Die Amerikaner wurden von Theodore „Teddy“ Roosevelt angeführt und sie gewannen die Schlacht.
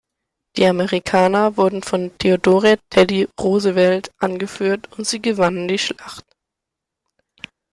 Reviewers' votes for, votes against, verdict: 2, 0, accepted